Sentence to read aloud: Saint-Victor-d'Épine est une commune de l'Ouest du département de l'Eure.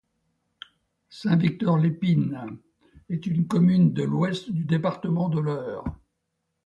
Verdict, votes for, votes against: rejected, 0, 2